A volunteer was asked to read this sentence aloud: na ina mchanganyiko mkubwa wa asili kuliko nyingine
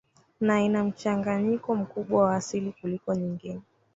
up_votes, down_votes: 2, 1